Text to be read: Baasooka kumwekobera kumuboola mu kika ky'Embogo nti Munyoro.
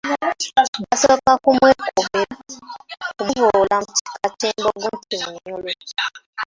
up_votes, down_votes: 1, 2